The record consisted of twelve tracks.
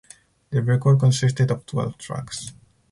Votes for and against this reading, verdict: 2, 2, rejected